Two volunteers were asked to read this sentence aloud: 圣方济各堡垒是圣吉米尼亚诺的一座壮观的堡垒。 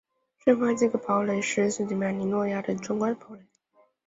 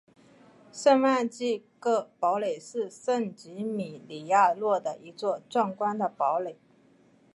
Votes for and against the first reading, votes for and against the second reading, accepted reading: 2, 1, 0, 2, first